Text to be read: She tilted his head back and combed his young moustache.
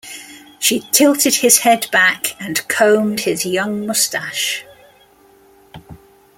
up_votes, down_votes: 2, 0